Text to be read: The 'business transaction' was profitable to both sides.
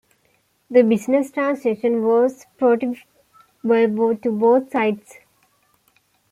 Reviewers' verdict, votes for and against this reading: rejected, 0, 2